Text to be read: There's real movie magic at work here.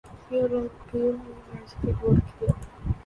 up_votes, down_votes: 0, 2